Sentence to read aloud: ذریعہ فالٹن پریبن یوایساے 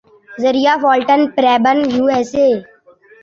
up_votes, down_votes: 2, 0